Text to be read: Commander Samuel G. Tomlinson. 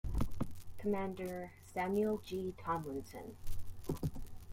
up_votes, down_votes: 2, 0